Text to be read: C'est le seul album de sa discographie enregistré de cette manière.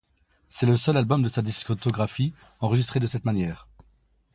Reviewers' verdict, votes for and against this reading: rejected, 0, 2